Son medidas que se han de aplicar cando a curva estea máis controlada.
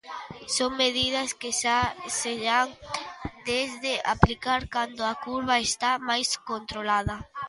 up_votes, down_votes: 0, 2